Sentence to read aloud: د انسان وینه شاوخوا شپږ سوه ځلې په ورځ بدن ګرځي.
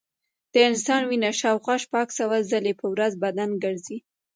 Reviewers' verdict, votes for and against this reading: accepted, 2, 1